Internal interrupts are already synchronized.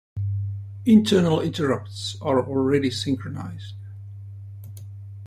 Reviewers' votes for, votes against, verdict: 2, 0, accepted